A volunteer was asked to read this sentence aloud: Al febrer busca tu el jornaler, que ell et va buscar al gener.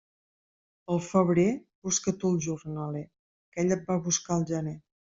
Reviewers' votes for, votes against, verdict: 2, 0, accepted